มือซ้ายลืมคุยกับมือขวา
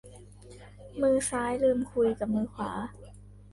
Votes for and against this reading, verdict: 2, 1, accepted